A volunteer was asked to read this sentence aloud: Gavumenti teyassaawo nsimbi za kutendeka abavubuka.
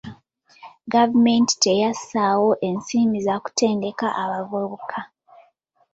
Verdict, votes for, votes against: rejected, 1, 2